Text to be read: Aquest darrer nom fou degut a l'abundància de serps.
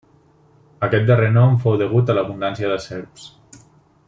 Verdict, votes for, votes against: accepted, 3, 0